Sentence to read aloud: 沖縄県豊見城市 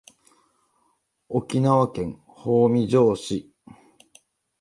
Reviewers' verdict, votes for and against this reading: accepted, 2, 0